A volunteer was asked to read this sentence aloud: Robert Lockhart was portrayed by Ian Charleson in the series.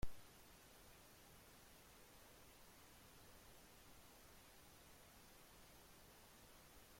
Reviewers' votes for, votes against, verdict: 0, 3, rejected